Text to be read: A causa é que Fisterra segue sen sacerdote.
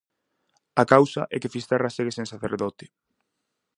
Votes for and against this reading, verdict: 4, 0, accepted